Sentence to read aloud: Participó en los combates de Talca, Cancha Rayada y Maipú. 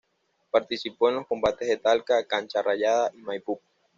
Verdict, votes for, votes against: accepted, 2, 0